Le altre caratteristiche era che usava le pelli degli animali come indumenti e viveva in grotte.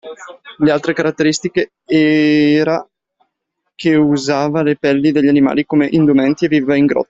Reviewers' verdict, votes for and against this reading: rejected, 0, 2